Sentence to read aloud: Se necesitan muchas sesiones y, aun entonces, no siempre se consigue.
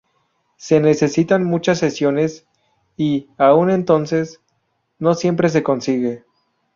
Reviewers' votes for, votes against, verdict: 2, 2, rejected